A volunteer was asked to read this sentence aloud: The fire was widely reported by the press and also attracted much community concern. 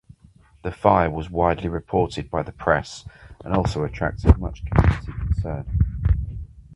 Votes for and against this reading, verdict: 2, 2, rejected